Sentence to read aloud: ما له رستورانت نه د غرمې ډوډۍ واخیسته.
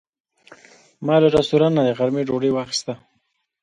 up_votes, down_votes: 1, 2